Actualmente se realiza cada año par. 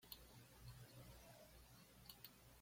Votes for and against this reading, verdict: 0, 2, rejected